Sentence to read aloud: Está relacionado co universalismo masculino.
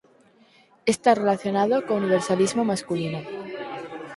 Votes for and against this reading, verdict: 4, 2, accepted